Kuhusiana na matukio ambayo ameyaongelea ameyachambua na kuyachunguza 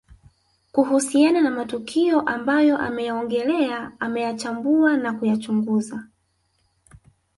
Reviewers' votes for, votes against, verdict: 2, 1, accepted